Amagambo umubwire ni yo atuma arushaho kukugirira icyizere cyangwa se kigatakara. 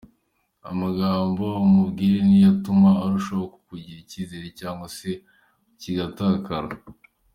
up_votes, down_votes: 2, 0